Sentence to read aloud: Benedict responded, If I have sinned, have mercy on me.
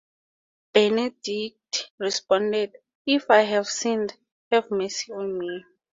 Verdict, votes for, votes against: accepted, 2, 0